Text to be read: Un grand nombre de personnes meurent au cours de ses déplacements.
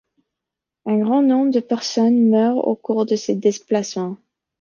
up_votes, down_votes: 1, 2